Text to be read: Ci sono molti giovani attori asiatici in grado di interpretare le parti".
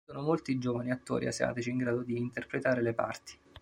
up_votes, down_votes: 2, 3